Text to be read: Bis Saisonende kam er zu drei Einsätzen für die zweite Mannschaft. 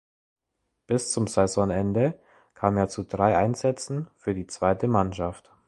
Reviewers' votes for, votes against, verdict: 1, 2, rejected